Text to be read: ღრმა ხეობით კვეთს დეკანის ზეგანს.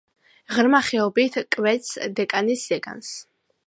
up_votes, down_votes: 2, 0